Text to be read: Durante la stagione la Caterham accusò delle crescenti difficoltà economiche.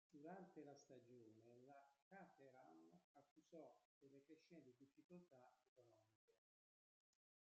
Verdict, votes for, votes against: rejected, 0, 2